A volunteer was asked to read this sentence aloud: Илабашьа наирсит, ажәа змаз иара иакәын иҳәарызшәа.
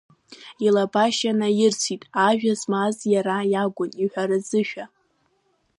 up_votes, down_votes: 2, 1